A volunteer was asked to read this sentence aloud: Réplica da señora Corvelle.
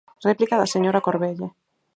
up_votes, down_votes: 4, 0